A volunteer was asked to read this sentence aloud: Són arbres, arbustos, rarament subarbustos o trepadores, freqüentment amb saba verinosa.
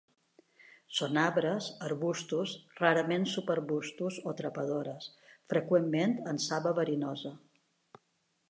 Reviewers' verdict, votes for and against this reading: accepted, 2, 0